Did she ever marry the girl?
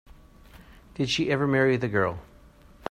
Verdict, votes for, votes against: accepted, 2, 0